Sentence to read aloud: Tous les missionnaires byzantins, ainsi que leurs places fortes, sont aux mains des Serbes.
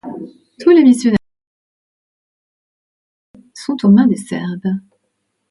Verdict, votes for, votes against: rejected, 0, 2